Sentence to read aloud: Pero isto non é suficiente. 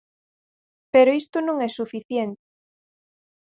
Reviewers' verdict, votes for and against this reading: rejected, 2, 4